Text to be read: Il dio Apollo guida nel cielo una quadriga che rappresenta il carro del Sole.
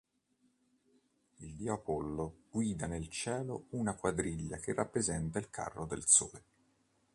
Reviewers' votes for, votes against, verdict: 2, 0, accepted